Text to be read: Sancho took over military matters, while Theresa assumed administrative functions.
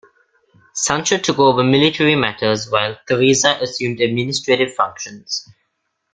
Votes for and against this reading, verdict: 2, 0, accepted